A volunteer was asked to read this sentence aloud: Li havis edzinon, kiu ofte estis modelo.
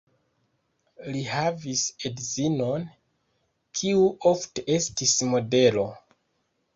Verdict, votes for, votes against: rejected, 0, 2